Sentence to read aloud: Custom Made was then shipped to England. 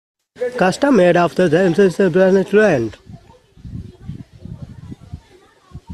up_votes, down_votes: 0, 2